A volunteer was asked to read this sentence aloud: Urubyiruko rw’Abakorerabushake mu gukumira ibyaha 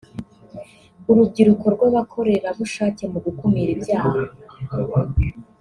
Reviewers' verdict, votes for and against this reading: accepted, 2, 0